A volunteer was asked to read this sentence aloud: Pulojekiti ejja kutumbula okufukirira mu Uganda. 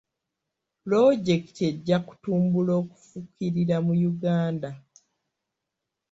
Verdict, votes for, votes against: rejected, 0, 2